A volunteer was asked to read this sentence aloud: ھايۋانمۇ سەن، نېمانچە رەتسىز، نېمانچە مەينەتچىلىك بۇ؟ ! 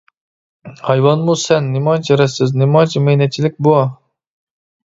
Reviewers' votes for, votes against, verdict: 2, 0, accepted